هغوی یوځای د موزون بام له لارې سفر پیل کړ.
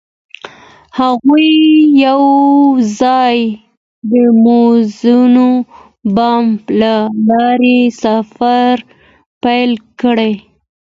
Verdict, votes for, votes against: accepted, 2, 0